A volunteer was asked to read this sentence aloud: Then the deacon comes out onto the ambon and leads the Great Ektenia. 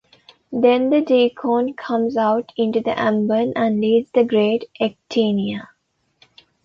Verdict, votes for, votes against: rejected, 1, 2